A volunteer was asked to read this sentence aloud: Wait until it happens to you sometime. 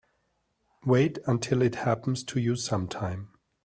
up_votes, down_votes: 2, 0